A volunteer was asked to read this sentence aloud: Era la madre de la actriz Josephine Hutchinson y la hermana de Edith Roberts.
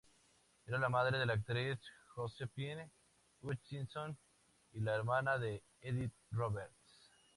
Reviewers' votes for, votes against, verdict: 2, 0, accepted